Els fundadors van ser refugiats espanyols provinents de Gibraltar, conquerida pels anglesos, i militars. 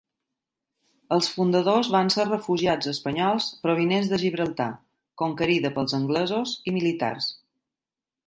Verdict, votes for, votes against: accepted, 2, 0